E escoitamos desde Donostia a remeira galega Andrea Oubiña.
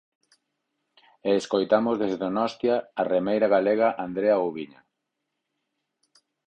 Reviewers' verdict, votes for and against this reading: rejected, 2, 4